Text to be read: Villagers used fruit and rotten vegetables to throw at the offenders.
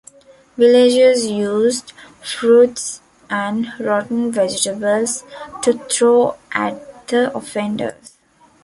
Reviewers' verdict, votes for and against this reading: accepted, 3, 0